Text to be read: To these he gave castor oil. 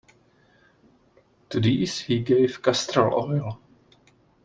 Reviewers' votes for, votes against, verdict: 2, 0, accepted